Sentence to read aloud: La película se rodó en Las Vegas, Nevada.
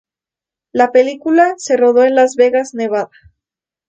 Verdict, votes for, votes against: accepted, 2, 0